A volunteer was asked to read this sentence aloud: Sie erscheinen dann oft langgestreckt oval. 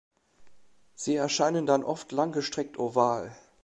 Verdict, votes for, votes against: accepted, 2, 0